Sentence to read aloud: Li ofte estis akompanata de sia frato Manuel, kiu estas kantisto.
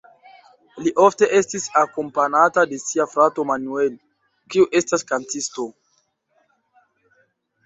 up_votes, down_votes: 0, 2